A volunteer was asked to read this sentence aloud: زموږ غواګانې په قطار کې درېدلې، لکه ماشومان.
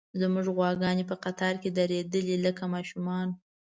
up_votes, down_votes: 2, 0